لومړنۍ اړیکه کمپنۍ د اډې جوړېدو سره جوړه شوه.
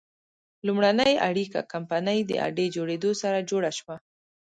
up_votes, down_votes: 2, 0